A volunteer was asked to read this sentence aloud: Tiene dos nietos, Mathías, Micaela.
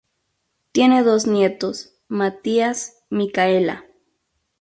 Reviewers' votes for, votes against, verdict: 2, 0, accepted